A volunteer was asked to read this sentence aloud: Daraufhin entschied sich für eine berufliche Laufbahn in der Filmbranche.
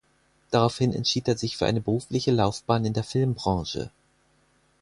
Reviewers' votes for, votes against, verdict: 2, 4, rejected